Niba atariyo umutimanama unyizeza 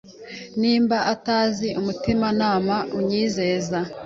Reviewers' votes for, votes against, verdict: 1, 2, rejected